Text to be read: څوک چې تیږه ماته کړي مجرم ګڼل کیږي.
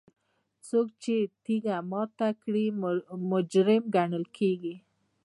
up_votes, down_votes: 2, 0